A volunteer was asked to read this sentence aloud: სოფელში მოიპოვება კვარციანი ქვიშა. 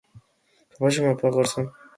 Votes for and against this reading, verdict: 0, 2, rejected